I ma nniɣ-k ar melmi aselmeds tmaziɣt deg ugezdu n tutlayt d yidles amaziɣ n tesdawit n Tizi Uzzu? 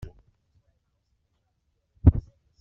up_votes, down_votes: 0, 2